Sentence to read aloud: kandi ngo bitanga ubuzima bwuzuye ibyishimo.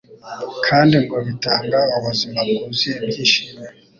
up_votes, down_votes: 3, 0